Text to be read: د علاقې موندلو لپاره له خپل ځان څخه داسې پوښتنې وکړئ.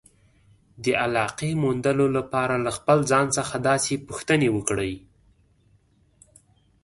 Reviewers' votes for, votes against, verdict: 2, 0, accepted